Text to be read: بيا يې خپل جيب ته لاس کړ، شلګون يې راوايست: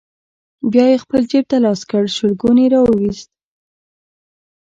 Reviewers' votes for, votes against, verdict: 2, 1, accepted